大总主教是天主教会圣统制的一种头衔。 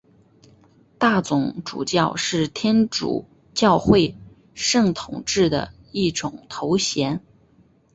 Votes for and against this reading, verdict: 2, 0, accepted